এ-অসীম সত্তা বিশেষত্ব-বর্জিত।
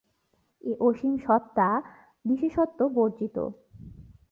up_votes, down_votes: 2, 0